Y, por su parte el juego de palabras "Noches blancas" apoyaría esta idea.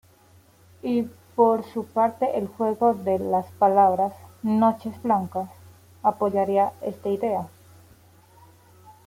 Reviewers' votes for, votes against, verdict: 1, 2, rejected